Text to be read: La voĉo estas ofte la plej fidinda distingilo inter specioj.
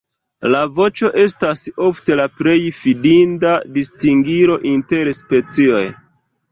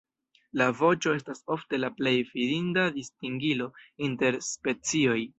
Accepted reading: second